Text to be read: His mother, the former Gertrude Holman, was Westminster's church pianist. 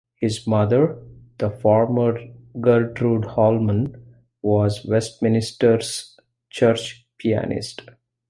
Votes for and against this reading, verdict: 0, 2, rejected